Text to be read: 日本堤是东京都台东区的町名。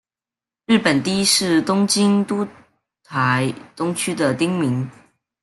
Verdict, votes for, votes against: rejected, 1, 2